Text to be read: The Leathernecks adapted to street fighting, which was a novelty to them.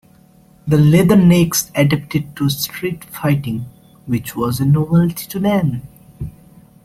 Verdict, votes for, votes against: rejected, 0, 2